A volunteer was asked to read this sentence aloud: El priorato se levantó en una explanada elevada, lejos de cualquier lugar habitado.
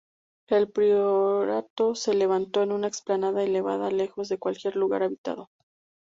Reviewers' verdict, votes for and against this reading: rejected, 0, 2